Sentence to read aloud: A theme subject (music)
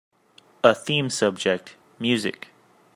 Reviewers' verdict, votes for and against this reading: accepted, 3, 0